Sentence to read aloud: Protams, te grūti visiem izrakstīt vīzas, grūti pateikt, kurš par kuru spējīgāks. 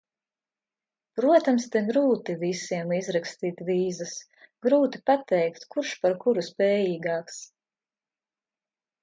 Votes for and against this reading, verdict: 2, 0, accepted